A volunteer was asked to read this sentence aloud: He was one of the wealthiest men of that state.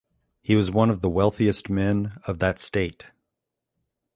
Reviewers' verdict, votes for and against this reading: accepted, 2, 0